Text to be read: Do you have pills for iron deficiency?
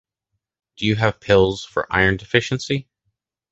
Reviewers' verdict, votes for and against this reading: accepted, 2, 0